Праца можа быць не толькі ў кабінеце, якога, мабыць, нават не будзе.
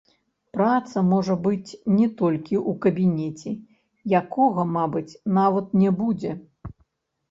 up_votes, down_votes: 1, 2